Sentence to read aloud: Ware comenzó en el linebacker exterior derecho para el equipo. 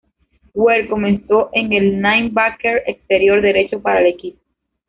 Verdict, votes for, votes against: rejected, 0, 2